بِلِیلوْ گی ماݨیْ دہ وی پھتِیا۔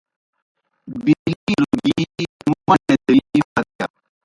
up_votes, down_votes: 0, 2